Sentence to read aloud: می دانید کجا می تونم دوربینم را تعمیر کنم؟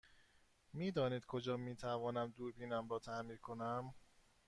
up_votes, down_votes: 2, 0